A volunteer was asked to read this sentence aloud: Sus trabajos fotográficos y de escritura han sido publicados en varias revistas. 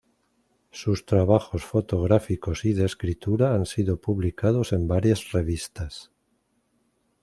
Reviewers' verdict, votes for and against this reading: accepted, 2, 0